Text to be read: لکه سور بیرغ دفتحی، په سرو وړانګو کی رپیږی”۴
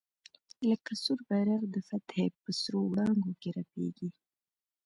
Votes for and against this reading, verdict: 0, 2, rejected